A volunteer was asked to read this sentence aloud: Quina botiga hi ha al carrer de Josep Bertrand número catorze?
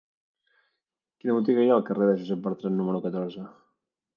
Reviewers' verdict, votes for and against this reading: rejected, 1, 2